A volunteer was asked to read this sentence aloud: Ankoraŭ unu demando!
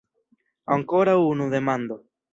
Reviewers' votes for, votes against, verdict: 1, 2, rejected